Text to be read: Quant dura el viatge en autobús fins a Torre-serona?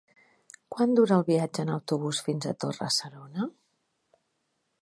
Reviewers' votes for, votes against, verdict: 3, 0, accepted